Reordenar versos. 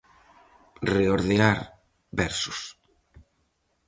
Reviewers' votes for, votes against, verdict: 0, 4, rejected